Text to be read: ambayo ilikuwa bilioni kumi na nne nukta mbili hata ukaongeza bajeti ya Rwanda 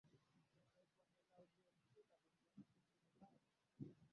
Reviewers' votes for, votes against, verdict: 0, 12, rejected